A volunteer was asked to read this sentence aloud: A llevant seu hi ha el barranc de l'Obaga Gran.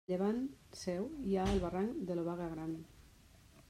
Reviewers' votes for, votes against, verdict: 0, 2, rejected